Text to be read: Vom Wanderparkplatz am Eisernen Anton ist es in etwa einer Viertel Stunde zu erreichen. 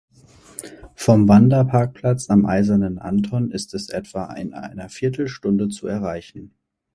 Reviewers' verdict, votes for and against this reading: rejected, 0, 4